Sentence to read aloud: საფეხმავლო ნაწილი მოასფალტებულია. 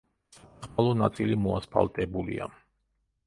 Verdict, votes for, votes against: rejected, 0, 2